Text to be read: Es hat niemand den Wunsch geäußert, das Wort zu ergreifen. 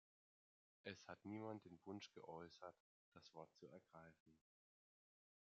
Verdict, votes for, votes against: rejected, 1, 2